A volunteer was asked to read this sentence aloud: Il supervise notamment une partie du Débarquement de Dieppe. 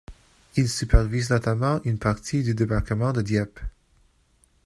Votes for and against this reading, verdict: 2, 0, accepted